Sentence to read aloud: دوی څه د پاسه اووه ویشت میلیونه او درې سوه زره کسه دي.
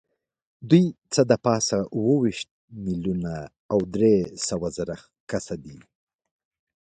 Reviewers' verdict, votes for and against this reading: accepted, 2, 0